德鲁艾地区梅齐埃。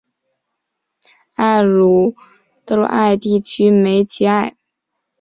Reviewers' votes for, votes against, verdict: 1, 2, rejected